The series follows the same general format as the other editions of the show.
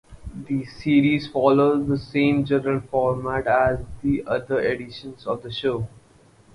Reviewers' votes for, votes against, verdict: 4, 2, accepted